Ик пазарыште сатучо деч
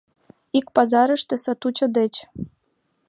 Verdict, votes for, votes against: accepted, 2, 0